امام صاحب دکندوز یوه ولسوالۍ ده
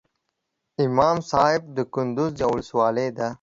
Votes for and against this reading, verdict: 2, 0, accepted